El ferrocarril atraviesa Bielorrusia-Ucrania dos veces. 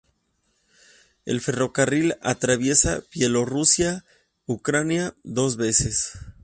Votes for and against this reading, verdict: 2, 0, accepted